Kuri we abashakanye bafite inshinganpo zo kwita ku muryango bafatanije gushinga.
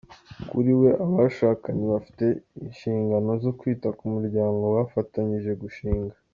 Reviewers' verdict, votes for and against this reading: accepted, 2, 0